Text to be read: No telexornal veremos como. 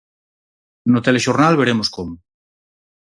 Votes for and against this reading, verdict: 4, 0, accepted